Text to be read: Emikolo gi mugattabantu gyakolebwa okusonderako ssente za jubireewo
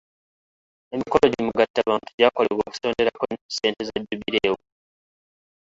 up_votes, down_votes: 0, 2